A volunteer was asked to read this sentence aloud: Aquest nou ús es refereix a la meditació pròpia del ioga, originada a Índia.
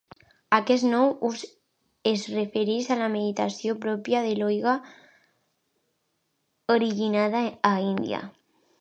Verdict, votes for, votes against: rejected, 1, 2